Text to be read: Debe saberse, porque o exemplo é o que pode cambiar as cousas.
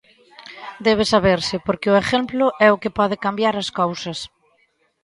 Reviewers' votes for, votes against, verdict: 0, 2, rejected